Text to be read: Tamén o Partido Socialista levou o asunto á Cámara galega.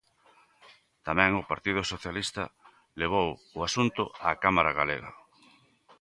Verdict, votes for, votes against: accepted, 2, 0